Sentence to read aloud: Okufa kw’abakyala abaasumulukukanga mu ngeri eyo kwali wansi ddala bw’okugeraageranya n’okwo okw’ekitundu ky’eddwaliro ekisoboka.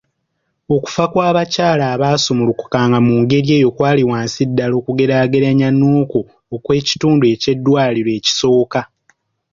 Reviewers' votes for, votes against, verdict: 1, 2, rejected